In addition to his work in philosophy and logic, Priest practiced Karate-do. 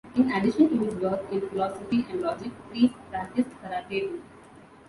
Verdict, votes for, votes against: rejected, 1, 2